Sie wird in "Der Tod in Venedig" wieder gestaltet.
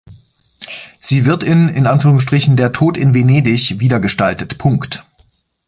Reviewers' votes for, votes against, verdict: 0, 2, rejected